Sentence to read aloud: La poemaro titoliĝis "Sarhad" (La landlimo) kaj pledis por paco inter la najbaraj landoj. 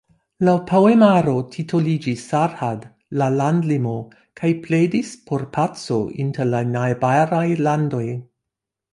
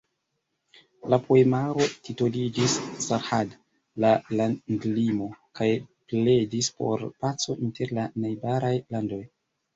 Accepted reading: first